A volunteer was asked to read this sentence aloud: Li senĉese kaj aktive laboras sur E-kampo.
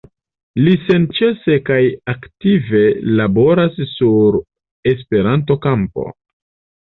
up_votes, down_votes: 2, 3